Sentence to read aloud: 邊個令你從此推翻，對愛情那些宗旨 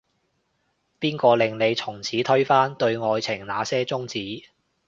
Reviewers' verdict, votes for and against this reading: accepted, 2, 0